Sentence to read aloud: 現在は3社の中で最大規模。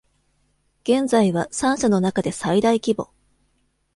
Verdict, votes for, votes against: rejected, 0, 2